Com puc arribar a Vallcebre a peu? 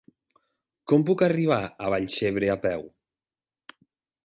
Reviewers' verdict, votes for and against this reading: accepted, 2, 0